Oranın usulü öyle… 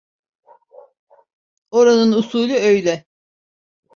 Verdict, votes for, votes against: accepted, 2, 0